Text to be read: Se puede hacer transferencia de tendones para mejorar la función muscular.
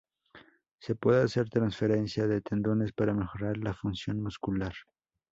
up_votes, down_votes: 2, 0